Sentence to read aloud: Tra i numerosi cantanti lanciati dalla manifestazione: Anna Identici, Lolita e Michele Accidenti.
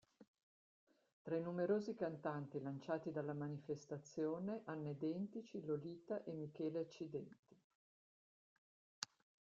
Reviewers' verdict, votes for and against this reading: rejected, 0, 2